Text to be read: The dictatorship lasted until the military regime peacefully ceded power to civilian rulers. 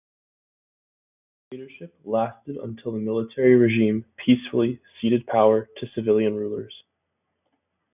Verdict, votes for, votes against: accepted, 2, 0